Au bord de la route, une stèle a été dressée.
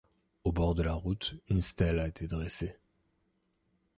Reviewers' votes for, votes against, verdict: 2, 0, accepted